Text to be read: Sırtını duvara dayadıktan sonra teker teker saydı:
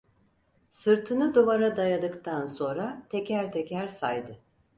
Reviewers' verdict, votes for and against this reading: accepted, 4, 0